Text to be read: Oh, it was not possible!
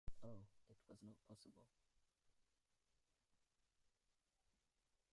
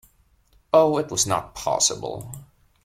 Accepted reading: second